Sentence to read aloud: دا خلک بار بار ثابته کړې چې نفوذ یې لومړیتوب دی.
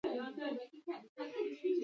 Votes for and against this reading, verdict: 1, 2, rejected